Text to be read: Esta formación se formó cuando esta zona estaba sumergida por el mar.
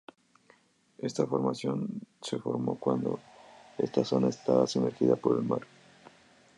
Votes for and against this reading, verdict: 2, 0, accepted